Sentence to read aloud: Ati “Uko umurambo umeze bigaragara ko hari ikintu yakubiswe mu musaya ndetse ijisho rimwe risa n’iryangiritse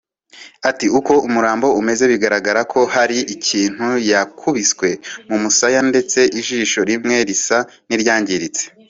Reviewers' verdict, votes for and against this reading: accepted, 2, 0